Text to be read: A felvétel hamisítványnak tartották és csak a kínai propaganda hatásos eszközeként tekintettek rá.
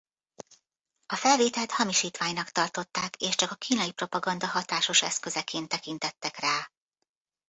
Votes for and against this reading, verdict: 1, 2, rejected